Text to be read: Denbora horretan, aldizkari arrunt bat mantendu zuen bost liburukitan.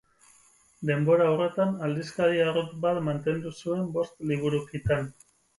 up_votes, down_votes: 4, 0